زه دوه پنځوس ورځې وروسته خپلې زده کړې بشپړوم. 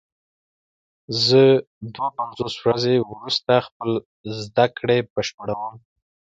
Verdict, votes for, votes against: accepted, 2, 0